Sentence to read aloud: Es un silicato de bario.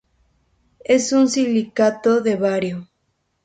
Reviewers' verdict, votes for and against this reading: accepted, 2, 0